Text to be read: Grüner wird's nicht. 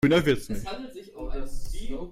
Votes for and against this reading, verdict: 1, 2, rejected